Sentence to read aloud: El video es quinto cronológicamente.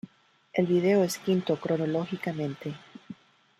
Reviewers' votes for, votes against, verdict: 2, 1, accepted